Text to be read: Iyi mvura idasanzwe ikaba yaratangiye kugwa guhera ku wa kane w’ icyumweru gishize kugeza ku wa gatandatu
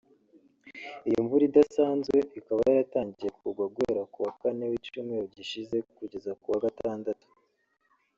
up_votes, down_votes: 0, 2